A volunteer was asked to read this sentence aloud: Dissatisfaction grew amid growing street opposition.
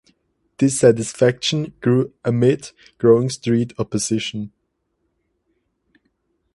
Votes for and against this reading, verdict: 4, 0, accepted